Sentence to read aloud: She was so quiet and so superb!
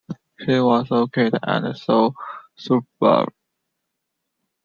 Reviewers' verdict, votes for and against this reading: rejected, 0, 2